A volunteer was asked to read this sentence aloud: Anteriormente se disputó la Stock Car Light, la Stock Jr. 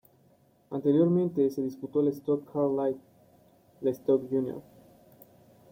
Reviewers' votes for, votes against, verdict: 1, 2, rejected